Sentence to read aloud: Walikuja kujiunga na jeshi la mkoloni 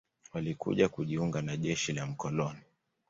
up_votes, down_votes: 2, 0